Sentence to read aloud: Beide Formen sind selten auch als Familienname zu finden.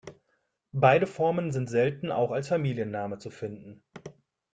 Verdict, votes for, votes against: accepted, 2, 0